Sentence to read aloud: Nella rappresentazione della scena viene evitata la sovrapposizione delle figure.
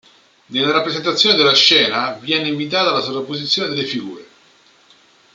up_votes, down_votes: 0, 2